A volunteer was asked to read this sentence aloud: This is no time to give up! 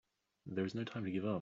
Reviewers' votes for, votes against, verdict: 2, 3, rejected